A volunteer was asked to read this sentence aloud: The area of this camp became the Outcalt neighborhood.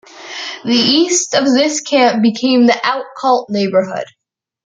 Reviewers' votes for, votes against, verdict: 0, 2, rejected